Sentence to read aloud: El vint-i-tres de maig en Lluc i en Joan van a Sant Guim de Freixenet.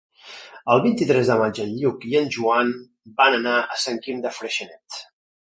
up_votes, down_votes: 0, 2